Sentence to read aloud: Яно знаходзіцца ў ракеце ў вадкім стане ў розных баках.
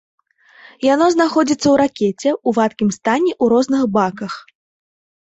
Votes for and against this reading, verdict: 2, 0, accepted